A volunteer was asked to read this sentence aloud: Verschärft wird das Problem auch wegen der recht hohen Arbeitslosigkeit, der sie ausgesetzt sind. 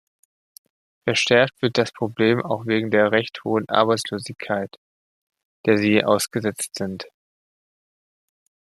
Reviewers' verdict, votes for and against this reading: accepted, 2, 1